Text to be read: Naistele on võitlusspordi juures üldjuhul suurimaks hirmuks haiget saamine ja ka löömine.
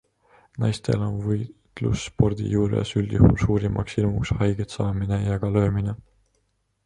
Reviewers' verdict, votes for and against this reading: rejected, 1, 2